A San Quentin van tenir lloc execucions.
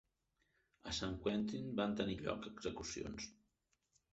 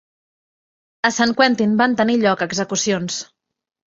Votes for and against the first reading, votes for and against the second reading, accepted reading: 1, 2, 2, 1, second